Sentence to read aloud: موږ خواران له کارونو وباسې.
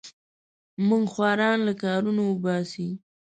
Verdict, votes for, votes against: rejected, 1, 2